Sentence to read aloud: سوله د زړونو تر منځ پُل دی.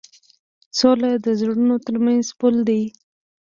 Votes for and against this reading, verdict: 1, 2, rejected